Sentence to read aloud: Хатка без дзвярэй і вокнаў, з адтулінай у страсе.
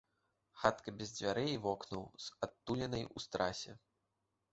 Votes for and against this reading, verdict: 1, 2, rejected